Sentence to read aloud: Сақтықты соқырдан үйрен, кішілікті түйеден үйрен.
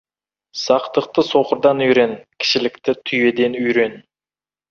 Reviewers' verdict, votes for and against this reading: accepted, 2, 1